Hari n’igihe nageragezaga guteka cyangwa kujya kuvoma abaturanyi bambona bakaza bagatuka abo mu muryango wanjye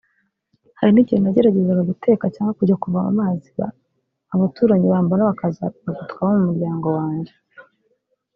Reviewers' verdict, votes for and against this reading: rejected, 1, 2